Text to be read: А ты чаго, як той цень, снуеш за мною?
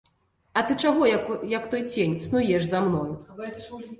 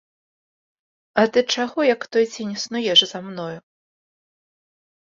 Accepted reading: second